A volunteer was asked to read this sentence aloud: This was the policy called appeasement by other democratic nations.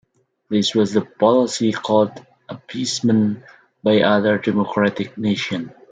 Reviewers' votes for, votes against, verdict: 2, 1, accepted